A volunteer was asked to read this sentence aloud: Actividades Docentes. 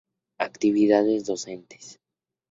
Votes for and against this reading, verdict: 2, 0, accepted